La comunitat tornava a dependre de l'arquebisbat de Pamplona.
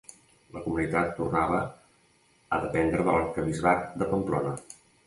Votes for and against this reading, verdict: 2, 0, accepted